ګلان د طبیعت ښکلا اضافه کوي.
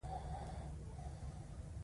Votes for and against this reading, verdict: 1, 2, rejected